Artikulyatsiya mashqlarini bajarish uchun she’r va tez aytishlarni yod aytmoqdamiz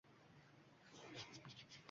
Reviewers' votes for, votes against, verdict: 0, 2, rejected